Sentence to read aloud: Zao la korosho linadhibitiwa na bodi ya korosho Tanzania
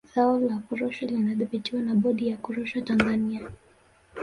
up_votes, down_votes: 1, 2